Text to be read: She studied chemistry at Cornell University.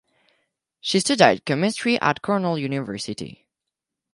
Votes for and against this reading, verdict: 4, 0, accepted